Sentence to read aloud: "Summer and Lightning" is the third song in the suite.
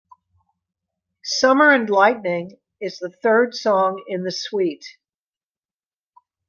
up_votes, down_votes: 2, 0